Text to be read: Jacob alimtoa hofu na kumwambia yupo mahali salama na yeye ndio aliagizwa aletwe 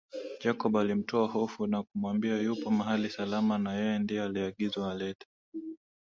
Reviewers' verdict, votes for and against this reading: accepted, 7, 3